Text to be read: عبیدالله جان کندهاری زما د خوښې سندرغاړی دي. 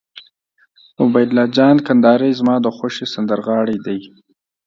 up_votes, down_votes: 3, 0